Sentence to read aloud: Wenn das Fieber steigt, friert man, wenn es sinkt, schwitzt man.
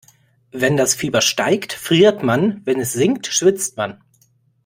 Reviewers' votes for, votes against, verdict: 2, 0, accepted